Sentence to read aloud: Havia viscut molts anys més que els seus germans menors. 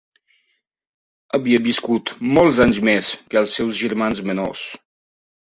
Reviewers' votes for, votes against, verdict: 3, 0, accepted